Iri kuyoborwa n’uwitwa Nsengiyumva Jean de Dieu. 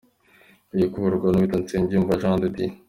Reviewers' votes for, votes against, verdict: 2, 1, accepted